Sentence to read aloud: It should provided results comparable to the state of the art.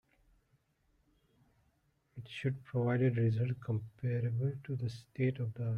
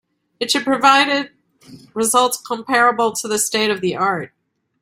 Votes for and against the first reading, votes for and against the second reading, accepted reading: 1, 2, 2, 0, second